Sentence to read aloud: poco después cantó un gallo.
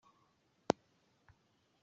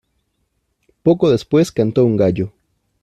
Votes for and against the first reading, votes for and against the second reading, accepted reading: 0, 2, 2, 0, second